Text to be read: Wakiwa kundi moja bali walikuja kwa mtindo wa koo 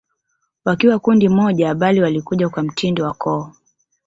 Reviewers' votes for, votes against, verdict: 3, 1, accepted